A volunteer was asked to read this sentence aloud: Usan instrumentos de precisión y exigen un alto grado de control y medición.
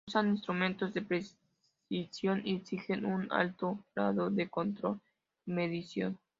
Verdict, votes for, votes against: rejected, 0, 2